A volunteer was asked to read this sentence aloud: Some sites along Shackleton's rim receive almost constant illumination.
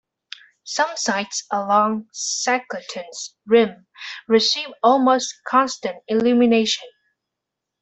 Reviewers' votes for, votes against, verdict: 1, 2, rejected